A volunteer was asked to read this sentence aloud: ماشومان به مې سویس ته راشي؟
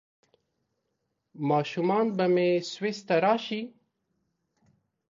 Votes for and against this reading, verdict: 2, 0, accepted